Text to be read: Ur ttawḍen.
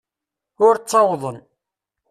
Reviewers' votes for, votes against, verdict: 2, 0, accepted